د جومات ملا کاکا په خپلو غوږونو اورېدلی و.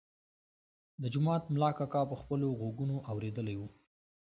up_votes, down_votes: 2, 0